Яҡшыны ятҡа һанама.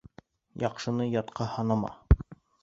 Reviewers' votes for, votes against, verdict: 1, 2, rejected